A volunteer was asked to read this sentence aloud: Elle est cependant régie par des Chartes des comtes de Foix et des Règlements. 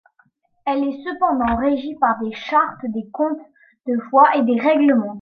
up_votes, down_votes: 2, 0